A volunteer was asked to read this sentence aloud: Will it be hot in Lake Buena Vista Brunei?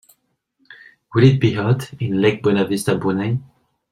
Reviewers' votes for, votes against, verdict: 3, 0, accepted